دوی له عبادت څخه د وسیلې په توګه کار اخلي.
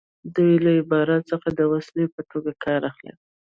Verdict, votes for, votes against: rejected, 0, 2